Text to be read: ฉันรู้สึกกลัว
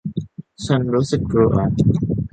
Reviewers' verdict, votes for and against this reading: accepted, 2, 0